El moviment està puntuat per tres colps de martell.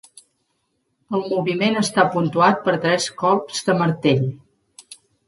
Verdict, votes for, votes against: accepted, 3, 0